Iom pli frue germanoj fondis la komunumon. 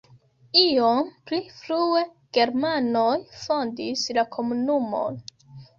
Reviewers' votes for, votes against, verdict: 3, 0, accepted